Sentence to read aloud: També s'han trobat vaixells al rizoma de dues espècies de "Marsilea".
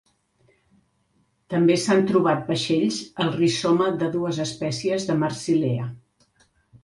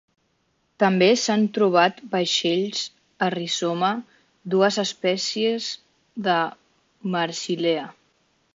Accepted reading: first